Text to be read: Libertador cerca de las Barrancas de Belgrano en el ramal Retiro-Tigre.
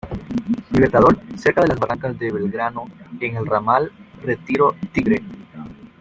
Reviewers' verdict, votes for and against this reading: rejected, 1, 2